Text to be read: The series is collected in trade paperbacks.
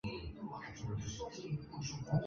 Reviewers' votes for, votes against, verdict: 0, 2, rejected